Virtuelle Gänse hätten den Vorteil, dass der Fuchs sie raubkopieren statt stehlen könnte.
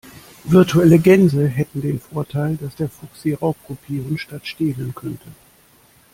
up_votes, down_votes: 2, 0